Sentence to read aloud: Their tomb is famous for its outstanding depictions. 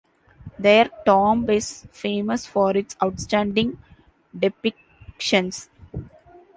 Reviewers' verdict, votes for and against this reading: accepted, 2, 1